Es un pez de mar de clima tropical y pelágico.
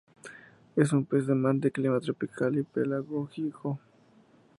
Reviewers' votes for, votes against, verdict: 2, 0, accepted